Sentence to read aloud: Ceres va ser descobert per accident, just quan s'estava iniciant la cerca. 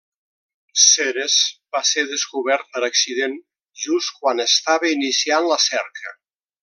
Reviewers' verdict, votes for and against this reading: rejected, 0, 2